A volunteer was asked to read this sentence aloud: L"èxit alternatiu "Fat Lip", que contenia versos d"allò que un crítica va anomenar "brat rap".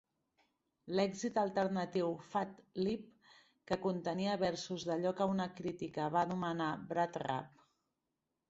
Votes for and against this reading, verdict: 2, 0, accepted